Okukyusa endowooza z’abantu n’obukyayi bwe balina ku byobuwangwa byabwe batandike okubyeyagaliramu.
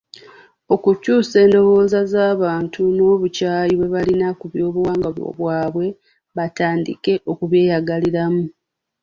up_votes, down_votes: 1, 2